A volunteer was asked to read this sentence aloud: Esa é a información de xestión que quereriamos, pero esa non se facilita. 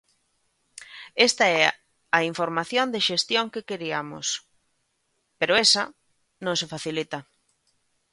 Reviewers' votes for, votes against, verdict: 0, 2, rejected